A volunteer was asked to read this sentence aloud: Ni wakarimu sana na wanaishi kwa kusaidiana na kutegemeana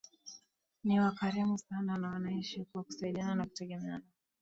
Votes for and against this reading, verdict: 2, 0, accepted